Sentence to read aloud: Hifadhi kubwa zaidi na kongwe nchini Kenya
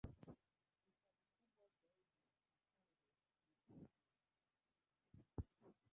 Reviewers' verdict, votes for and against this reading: rejected, 0, 2